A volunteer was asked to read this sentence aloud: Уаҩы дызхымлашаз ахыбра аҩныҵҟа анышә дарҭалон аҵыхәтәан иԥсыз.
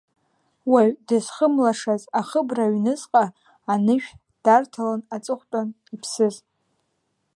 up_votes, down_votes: 2, 0